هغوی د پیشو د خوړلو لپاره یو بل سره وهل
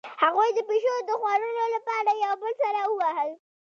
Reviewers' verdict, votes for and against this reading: rejected, 1, 2